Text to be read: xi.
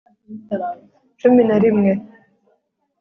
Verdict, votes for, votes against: rejected, 1, 2